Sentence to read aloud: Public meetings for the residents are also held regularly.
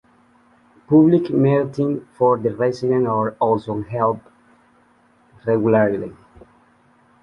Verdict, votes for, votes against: rejected, 0, 2